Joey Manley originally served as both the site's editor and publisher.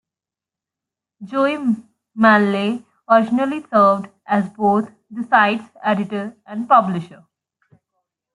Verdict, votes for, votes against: rejected, 1, 2